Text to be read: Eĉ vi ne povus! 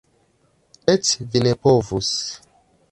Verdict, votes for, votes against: accepted, 2, 0